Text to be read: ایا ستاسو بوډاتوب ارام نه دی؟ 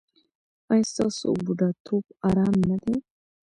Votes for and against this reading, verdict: 2, 0, accepted